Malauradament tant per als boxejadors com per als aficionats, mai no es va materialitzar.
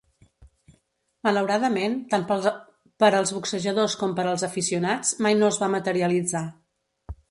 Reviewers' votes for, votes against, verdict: 0, 3, rejected